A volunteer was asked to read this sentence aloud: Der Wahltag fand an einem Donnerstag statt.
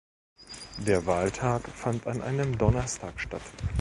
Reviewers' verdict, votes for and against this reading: rejected, 1, 2